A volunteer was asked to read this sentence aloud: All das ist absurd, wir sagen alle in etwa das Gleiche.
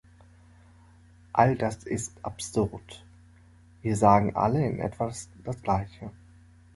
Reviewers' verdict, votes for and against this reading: rejected, 0, 2